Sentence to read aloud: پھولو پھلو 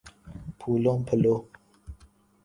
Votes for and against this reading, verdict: 2, 0, accepted